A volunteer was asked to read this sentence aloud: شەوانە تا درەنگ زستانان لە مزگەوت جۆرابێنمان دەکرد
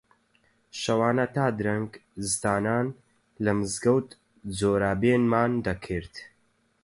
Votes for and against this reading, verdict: 4, 4, rejected